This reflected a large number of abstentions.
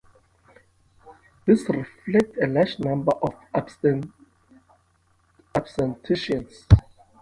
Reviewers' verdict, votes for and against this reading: rejected, 1, 2